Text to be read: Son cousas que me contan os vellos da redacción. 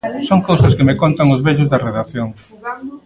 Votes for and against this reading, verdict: 1, 2, rejected